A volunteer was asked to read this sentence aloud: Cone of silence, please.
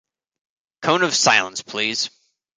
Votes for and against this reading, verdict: 2, 0, accepted